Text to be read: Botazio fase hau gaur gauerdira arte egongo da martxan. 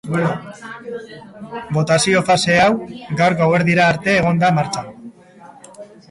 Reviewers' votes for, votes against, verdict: 1, 2, rejected